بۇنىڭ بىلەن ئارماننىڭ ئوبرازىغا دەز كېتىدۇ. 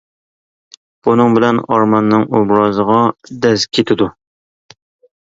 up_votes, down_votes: 2, 0